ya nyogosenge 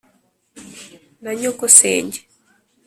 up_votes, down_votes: 2, 0